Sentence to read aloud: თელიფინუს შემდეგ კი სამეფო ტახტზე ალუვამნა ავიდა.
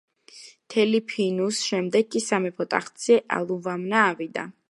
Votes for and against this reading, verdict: 0, 2, rejected